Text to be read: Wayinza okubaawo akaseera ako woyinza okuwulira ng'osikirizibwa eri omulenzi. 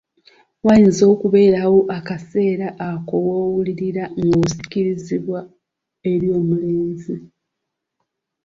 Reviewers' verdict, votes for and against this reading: rejected, 0, 2